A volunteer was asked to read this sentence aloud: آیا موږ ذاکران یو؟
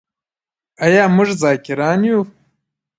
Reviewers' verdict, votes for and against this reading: accepted, 2, 0